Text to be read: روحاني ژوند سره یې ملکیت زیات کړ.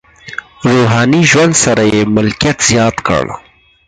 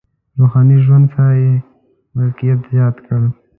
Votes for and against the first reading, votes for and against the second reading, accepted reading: 0, 4, 2, 1, second